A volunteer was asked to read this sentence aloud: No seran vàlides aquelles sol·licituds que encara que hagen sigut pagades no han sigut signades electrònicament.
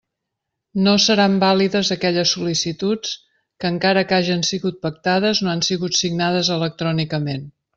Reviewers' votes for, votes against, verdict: 1, 2, rejected